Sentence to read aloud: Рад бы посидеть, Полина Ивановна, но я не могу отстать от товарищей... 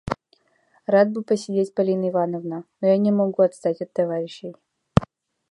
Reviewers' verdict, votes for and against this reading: rejected, 0, 3